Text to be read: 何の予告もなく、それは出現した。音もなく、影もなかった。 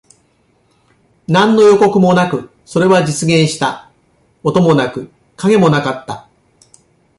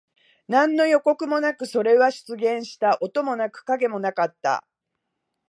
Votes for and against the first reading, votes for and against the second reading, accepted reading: 1, 2, 2, 0, second